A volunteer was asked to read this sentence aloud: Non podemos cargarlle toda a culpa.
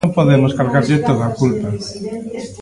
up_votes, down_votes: 0, 2